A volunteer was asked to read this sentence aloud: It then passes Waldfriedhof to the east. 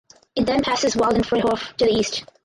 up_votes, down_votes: 0, 4